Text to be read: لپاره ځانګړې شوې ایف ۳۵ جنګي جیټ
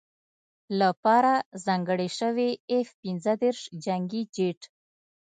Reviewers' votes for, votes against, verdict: 0, 2, rejected